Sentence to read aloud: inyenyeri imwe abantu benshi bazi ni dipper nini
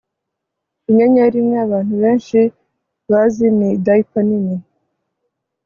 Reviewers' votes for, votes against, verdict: 1, 2, rejected